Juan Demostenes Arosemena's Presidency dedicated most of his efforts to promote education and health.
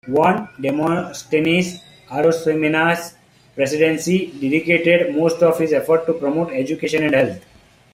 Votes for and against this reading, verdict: 2, 0, accepted